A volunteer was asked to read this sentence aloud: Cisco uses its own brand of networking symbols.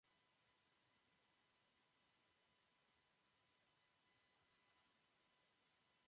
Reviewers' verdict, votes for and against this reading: rejected, 0, 2